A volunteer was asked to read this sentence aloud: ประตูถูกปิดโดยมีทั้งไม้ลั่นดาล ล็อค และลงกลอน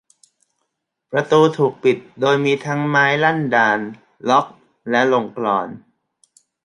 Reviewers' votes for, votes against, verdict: 0, 2, rejected